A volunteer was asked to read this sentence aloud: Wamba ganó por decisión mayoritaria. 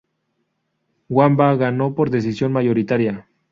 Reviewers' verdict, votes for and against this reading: accepted, 2, 0